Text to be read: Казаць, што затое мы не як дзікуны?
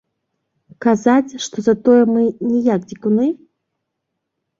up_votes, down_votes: 3, 0